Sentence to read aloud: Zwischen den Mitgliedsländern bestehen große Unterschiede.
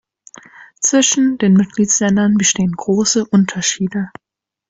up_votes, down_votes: 3, 0